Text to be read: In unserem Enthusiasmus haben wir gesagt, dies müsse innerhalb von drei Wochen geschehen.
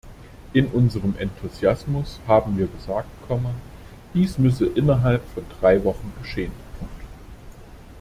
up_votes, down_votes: 0, 2